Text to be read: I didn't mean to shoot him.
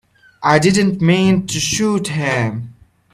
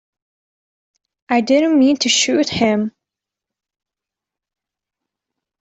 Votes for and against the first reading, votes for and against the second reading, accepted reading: 0, 2, 3, 0, second